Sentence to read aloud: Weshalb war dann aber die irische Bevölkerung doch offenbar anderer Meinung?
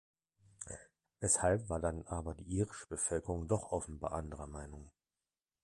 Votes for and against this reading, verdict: 2, 0, accepted